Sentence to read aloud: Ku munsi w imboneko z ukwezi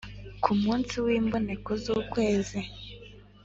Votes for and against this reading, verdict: 2, 0, accepted